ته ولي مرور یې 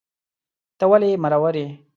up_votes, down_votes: 2, 0